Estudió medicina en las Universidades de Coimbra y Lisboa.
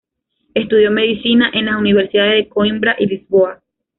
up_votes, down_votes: 2, 0